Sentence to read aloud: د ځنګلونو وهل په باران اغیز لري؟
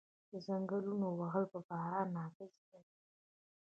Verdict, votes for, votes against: accepted, 2, 1